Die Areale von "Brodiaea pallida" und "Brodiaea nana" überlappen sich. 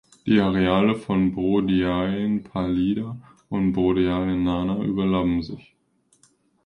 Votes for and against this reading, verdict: 0, 2, rejected